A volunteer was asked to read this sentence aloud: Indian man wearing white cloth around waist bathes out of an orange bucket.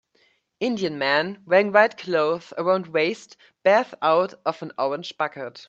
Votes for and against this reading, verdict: 0, 2, rejected